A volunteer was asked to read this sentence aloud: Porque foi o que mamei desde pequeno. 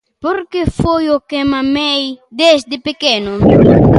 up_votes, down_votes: 2, 0